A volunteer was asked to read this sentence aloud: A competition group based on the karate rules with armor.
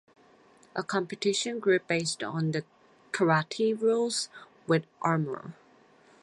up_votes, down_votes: 4, 0